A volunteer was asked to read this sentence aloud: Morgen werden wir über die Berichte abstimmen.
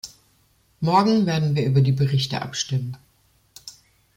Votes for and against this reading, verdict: 1, 2, rejected